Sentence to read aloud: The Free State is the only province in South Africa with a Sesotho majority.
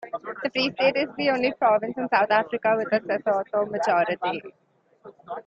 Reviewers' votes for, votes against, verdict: 2, 0, accepted